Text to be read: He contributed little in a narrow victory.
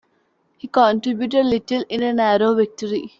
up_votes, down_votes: 2, 1